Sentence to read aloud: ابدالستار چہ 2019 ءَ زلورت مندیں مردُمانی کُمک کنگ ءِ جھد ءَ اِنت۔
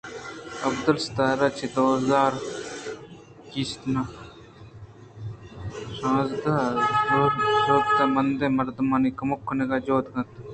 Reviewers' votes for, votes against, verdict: 0, 2, rejected